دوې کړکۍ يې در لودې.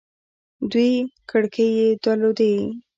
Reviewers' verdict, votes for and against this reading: accepted, 2, 1